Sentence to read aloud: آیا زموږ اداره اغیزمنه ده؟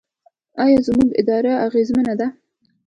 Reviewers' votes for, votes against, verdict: 2, 0, accepted